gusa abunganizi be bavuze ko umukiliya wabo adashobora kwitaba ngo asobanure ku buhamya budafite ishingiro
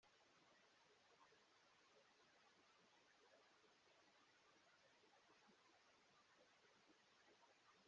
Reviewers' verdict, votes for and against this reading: rejected, 0, 2